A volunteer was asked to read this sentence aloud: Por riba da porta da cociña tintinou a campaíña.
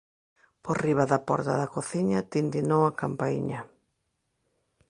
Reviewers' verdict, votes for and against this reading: accepted, 2, 0